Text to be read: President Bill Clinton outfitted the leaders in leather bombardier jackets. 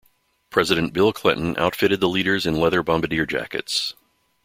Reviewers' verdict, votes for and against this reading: accepted, 3, 0